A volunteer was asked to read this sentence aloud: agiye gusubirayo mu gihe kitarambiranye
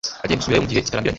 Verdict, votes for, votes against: rejected, 0, 2